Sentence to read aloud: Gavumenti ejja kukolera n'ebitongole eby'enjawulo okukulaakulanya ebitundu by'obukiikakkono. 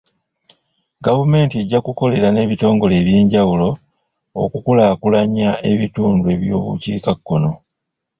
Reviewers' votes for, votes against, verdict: 1, 2, rejected